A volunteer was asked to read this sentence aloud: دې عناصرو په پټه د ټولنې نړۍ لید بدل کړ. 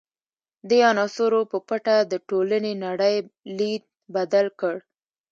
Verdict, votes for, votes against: accepted, 2, 1